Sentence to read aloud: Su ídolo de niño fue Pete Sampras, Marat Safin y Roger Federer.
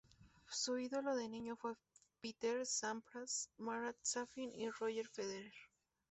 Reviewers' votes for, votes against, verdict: 2, 0, accepted